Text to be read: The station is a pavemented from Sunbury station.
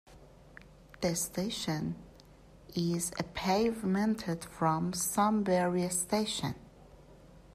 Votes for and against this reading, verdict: 1, 2, rejected